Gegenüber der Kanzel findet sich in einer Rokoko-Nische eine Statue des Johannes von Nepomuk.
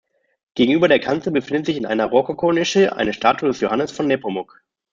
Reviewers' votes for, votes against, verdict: 0, 2, rejected